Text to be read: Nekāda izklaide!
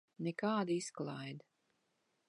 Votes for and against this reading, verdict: 1, 2, rejected